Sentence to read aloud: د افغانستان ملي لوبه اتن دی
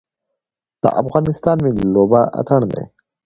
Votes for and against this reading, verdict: 2, 0, accepted